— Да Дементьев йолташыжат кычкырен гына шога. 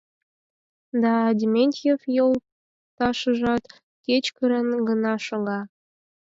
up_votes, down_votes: 4, 2